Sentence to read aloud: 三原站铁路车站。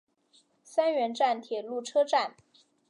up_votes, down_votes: 2, 0